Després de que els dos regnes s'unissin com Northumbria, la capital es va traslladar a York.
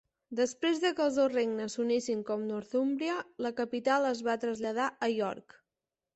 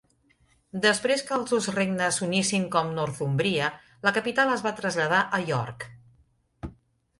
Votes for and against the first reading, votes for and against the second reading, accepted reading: 2, 0, 0, 2, first